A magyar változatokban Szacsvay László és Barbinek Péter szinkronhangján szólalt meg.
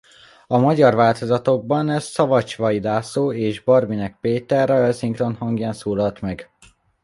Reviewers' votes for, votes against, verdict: 0, 2, rejected